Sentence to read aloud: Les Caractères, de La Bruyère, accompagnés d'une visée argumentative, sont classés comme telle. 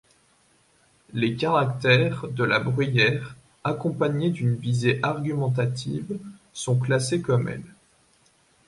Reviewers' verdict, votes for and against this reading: rejected, 1, 2